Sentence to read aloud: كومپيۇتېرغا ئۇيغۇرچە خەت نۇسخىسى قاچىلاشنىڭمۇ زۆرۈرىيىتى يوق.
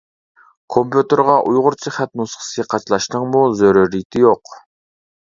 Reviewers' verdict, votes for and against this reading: accepted, 2, 0